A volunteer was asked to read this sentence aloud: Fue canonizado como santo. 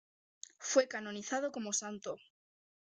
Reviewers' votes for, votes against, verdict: 2, 1, accepted